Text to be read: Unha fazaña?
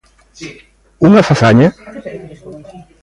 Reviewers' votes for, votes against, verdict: 2, 1, accepted